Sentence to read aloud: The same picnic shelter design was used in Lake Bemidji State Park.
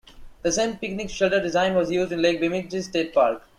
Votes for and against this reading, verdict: 0, 2, rejected